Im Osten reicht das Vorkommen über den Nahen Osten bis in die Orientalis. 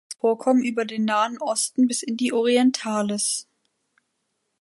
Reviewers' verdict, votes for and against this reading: rejected, 1, 2